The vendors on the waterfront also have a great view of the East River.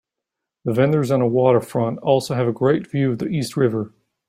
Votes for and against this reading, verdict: 3, 0, accepted